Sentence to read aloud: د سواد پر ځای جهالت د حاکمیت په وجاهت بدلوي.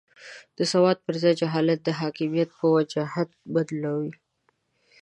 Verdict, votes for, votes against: accepted, 2, 1